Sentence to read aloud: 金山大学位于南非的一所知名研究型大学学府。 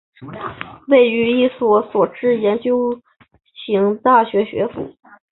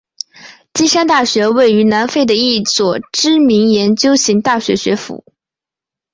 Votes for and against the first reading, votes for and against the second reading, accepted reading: 0, 2, 2, 0, second